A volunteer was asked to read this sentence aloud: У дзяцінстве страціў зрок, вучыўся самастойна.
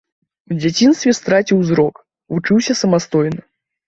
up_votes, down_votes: 2, 0